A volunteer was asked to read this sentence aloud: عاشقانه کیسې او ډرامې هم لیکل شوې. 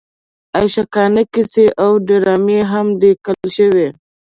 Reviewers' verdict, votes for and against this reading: rejected, 0, 2